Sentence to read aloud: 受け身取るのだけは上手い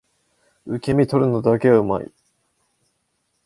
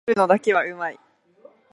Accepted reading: first